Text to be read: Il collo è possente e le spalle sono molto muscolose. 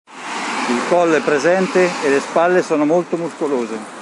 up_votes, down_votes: 1, 3